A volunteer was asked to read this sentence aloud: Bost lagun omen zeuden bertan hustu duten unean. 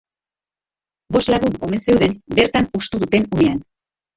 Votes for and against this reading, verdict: 2, 3, rejected